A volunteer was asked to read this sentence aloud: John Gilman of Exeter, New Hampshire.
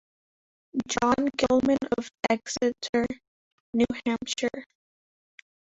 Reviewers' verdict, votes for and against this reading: rejected, 1, 2